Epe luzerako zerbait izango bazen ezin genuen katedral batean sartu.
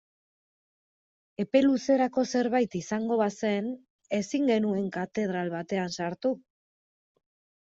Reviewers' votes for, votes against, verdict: 2, 0, accepted